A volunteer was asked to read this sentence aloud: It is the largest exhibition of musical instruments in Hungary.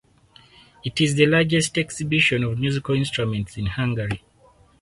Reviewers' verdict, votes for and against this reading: accepted, 4, 0